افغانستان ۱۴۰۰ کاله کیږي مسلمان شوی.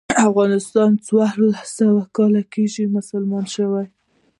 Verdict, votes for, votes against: rejected, 0, 2